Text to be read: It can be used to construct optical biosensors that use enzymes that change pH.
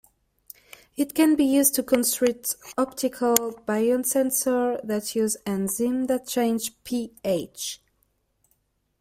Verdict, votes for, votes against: rejected, 1, 2